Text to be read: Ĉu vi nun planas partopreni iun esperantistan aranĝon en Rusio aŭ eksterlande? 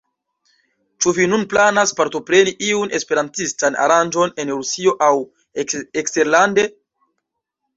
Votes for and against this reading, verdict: 1, 2, rejected